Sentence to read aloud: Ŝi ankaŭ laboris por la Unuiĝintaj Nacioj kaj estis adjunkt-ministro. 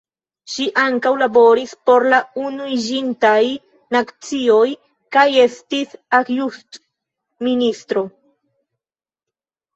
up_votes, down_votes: 0, 2